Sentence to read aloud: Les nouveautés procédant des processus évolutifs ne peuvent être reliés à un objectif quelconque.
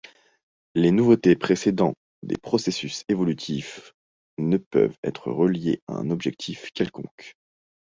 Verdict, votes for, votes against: rejected, 1, 2